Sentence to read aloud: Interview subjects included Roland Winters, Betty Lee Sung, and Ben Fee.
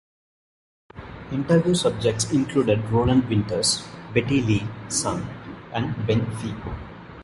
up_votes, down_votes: 2, 0